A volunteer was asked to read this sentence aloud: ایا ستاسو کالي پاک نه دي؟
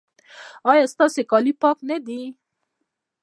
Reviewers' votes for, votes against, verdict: 0, 2, rejected